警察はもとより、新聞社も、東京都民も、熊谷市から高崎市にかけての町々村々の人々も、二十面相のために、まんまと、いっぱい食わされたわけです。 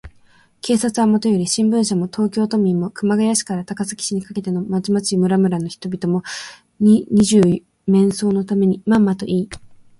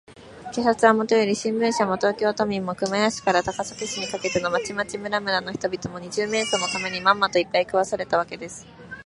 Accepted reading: second